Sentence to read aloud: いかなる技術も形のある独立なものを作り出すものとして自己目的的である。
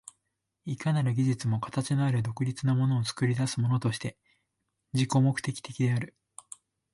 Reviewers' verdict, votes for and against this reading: accepted, 2, 0